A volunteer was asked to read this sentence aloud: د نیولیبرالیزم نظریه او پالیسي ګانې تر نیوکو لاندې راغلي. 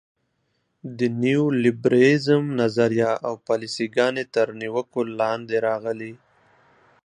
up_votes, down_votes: 2, 0